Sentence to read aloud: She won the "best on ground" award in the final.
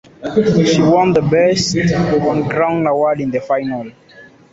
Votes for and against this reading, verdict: 2, 0, accepted